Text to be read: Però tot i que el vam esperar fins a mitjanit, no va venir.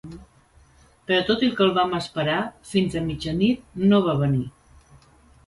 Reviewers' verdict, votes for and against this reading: accepted, 2, 0